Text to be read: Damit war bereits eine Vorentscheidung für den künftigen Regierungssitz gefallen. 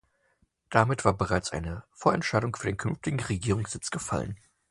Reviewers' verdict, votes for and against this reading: accepted, 2, 0